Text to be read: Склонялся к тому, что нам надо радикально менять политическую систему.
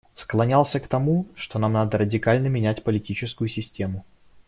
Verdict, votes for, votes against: accepted, 2, 0